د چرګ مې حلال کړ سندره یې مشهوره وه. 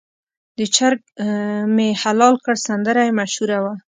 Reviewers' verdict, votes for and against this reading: rejected, 1, 2